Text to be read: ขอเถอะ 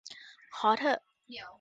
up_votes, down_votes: 1, 2